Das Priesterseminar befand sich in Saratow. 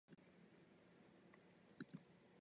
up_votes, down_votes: 0, 3